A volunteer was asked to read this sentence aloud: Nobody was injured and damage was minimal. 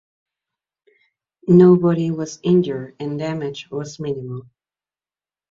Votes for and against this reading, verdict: 2, 0, accepted